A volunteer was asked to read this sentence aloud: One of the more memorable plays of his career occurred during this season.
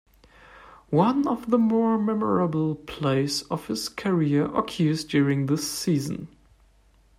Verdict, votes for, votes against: accepted, 2, 1